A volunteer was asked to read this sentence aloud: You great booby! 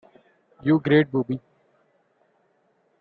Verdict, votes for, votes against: accepted, 3, 0